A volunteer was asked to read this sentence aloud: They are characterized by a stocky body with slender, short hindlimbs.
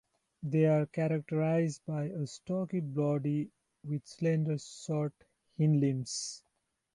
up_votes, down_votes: 2, 0